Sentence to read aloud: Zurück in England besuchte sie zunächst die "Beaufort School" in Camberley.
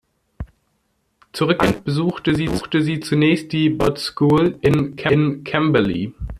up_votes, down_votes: 0, 2